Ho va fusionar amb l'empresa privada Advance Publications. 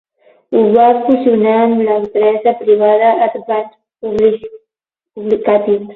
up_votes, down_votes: 0, 12